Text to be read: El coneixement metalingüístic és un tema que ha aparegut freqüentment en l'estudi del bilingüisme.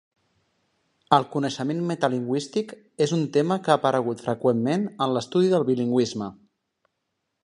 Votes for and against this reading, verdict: 2, 0, accepted